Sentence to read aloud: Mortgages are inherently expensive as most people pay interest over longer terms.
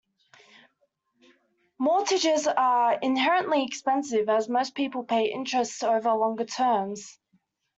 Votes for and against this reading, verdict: 2, 0, accepted